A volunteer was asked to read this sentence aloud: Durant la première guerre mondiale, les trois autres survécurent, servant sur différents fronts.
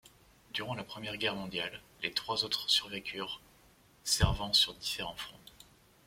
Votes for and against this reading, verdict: 2, 0, accepted